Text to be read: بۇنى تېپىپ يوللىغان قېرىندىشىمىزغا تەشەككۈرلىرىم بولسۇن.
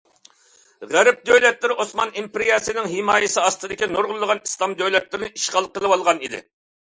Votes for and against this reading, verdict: 0, 2, rejected